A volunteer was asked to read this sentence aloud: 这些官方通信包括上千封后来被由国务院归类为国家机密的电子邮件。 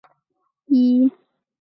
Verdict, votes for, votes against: rejected, 0, 2